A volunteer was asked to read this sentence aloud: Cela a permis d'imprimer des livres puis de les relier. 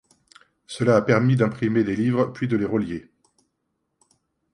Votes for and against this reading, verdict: 1, 2, rejected